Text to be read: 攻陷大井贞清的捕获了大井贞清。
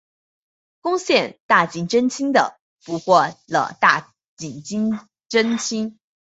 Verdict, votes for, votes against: rejected, 1, 2